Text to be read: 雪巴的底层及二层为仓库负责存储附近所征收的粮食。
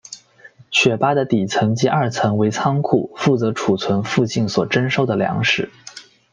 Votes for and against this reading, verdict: 2, 1, accepted